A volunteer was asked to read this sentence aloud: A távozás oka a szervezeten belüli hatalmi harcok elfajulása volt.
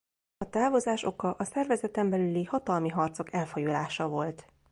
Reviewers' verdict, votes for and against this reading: accepted, 2, 0